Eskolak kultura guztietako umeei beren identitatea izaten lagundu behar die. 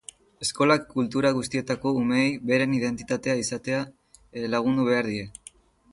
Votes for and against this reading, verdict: 1, 2, rejected